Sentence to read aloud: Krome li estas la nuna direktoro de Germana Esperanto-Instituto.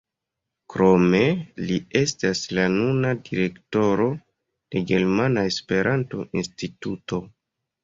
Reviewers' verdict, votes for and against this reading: rejected, 0, 2